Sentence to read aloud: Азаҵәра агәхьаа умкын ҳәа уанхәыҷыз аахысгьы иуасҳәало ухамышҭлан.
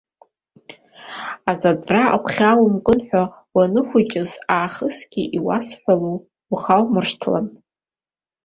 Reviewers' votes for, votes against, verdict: 1, 2, rejected